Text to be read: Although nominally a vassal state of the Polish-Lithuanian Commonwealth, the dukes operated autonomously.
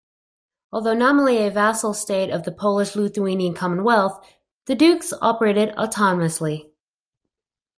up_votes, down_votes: 2, 0